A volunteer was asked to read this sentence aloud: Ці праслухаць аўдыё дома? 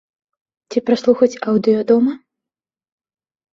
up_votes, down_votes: 2, 0